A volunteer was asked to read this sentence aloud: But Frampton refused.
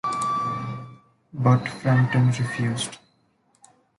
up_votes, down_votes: 2, 1